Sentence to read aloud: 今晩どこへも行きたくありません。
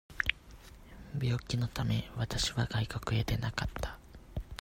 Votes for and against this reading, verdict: 0, 2, rejected